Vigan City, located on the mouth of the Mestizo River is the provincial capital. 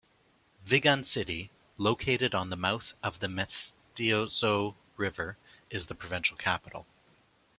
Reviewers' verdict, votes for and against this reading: rejected, 0, 2